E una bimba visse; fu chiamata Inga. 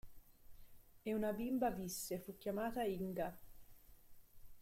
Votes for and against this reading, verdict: 0, 2, rejected